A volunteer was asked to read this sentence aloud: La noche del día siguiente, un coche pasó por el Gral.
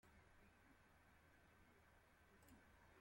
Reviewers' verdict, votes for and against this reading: rejected, 0, 2